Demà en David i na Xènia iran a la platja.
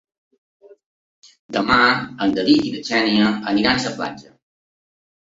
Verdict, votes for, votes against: rejected, 0, 2